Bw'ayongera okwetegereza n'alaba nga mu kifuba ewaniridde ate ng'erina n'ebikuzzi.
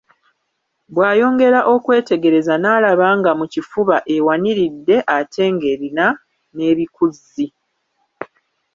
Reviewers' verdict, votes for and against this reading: rejected, 1, 2